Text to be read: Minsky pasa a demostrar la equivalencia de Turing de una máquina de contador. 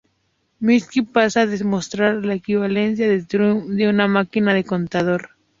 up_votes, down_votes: 2, 0